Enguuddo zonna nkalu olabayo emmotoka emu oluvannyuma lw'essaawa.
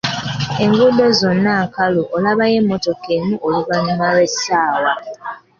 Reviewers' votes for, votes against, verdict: 3, 0, accepted